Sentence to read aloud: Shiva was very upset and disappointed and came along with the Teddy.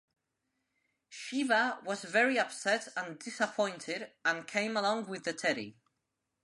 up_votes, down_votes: 3, 0